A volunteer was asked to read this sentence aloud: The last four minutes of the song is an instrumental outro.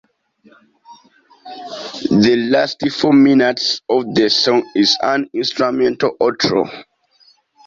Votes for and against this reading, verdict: 2, 0, accepted